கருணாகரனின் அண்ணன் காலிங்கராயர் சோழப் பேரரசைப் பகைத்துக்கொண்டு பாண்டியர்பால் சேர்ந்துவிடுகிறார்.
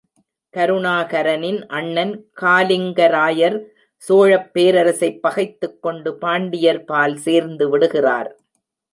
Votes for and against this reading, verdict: 2, 0, accepted